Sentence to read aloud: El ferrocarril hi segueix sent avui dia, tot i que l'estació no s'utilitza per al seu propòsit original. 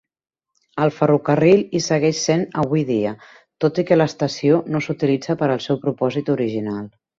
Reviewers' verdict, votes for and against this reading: accepted, 4, 0